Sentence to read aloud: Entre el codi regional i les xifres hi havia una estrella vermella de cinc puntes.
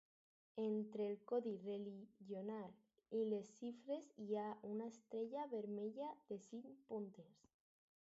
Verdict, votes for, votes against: rejected, 2, 2